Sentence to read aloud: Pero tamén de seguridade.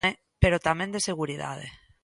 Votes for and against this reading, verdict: 1, 2, rejected